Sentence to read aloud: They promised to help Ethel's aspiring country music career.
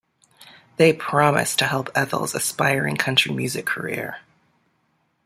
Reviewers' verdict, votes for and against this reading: accepted, 2, 0